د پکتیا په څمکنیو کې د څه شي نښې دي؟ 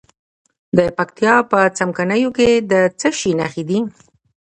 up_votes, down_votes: 2, 1